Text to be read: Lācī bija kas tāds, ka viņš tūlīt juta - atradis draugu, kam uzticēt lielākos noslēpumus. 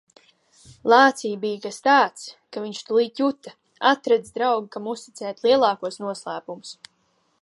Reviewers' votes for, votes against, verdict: 2, 1, accepted